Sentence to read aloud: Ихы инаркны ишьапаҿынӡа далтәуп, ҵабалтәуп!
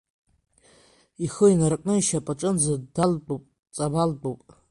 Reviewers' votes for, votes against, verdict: 2, 1, accepted